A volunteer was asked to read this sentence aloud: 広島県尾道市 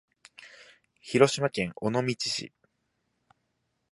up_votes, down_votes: 2, 0